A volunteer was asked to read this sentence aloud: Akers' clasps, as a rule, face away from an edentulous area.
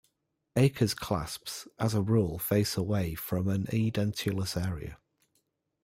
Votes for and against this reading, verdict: 0, 2, rejected